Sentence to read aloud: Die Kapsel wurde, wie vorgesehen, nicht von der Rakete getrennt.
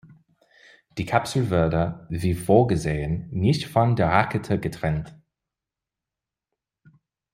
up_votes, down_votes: 2, 0